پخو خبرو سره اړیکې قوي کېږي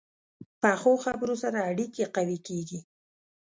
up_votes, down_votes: 2, 0